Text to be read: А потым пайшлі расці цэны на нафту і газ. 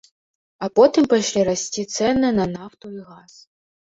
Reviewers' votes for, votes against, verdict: 1, 2, rejected